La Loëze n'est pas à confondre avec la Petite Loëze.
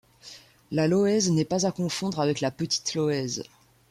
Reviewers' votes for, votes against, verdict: 2, 0, accepted